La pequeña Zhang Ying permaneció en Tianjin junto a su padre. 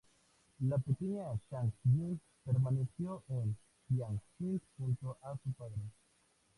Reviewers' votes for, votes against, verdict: 0, 4, rejected